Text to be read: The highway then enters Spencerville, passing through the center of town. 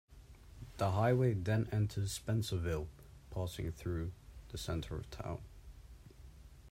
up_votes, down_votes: 2, 0